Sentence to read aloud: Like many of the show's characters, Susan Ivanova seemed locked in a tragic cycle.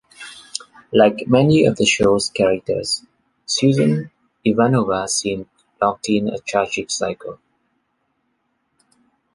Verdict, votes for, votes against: accepted, 2, 0